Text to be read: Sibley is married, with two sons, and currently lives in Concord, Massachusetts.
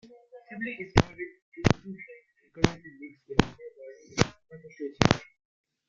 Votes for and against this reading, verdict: 0, 2, rejected